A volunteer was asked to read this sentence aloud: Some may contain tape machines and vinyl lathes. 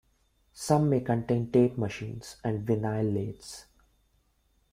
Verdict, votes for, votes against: accepted, 2, 0